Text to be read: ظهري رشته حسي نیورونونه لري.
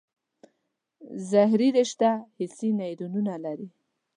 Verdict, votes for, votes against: accepted, 2, 0